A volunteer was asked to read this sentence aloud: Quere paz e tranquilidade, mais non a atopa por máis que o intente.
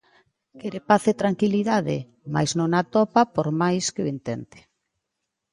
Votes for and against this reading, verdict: 2, 0, accepted